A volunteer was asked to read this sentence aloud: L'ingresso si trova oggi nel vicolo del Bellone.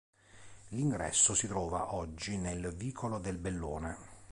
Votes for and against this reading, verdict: 2, 0, accepted